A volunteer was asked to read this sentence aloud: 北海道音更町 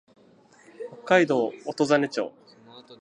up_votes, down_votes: 8, 2